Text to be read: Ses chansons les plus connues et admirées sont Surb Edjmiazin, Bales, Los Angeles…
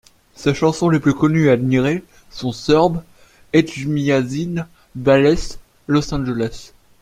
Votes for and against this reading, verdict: 2, 0, accepted